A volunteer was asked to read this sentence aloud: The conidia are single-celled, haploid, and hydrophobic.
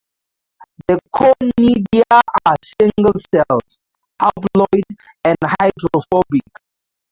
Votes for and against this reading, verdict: 0, 4, rejected